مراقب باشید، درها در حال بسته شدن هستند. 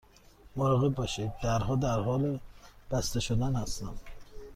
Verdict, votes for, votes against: accepted, 2, 0